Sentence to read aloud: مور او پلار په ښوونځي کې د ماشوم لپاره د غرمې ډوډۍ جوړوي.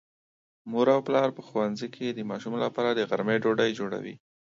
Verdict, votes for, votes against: accepted, 2, 0